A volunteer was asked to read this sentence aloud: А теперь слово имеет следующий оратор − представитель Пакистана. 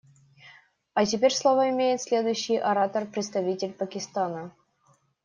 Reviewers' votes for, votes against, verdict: 2, 0, accepted